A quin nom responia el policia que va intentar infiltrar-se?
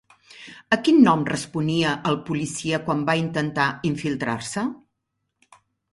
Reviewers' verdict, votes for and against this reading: rejected, 2, 3